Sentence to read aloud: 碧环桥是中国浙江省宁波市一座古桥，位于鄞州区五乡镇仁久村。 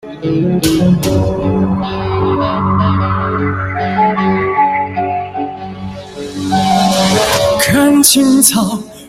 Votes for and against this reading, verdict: 0, 2, rejected